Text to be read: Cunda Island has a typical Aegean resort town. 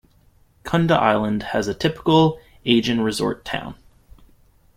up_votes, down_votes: 0, 2